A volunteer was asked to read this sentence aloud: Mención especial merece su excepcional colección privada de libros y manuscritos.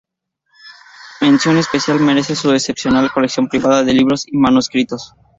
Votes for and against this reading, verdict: 2, 0, accepted